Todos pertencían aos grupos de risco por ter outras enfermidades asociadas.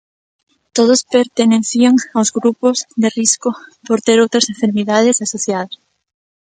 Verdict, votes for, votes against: rejected, 0, 2